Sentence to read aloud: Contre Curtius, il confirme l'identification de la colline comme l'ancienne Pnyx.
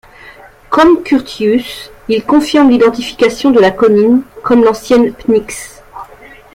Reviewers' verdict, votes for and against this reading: rejected, 0, 2